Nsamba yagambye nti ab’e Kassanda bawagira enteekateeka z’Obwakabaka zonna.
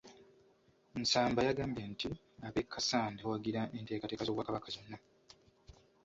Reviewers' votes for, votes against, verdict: 0, 2, rejected